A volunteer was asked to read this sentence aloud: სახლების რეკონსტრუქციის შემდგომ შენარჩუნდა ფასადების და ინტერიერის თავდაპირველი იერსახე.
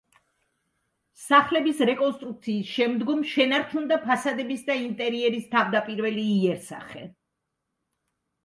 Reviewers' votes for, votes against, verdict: 2, 0, accepted